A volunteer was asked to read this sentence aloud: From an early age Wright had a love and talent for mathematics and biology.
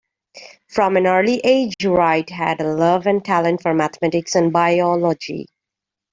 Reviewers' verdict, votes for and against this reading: accepted, 2, 0